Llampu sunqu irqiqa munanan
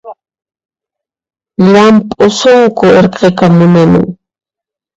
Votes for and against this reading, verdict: 1, 2, rejected